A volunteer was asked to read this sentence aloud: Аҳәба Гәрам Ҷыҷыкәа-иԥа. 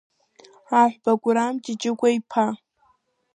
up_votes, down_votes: 0, 2